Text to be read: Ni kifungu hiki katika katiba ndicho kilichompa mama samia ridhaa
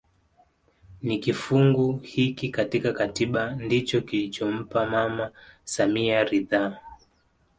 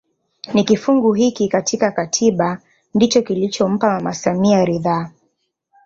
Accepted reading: first